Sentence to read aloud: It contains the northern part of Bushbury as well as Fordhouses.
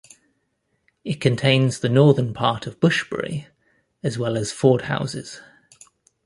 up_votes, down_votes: 2, 0